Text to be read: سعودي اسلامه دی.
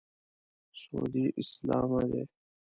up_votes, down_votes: 0, 2